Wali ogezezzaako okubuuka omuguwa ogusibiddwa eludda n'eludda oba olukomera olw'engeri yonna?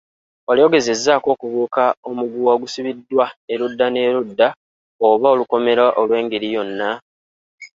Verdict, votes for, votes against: accepted, 3, 0